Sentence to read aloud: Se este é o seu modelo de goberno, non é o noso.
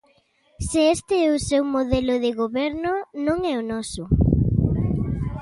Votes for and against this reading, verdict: 2, 0, accepted